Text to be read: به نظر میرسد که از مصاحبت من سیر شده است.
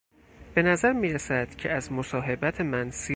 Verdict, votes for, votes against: rejected, 0, 4